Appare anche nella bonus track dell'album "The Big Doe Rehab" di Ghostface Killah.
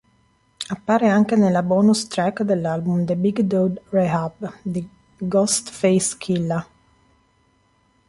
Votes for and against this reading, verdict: 1, 2, rejected